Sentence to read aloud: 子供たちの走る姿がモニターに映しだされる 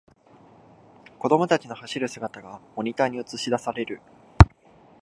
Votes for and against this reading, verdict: 2, 0, accepted